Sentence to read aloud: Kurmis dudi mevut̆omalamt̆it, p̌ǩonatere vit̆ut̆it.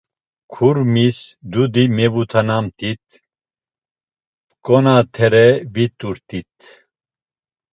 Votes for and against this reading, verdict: 1, 2, rejected